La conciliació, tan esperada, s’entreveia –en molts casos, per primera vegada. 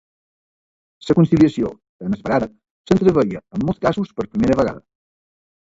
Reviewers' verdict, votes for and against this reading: rejected, 1, 2